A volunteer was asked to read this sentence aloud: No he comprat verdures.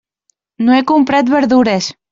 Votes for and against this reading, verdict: 2, 0, accepted